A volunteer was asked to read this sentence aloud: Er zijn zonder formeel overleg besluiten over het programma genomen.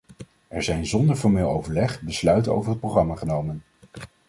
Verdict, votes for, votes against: accepted, 2, 0